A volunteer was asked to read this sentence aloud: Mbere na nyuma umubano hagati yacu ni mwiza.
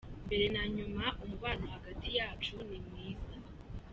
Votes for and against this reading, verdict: 2, 0, accepted